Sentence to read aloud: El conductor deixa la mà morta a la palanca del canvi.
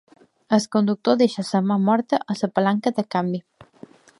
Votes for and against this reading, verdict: 1, 2, rejected